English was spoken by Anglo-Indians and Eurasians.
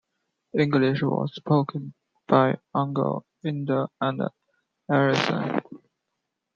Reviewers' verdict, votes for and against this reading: rejected, 1, 2